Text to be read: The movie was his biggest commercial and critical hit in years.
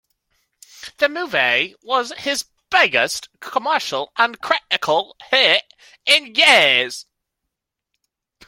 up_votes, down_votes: 2, 0